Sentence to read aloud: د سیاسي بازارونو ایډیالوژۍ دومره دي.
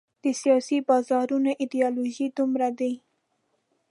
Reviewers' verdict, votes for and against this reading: rejected, 1, 2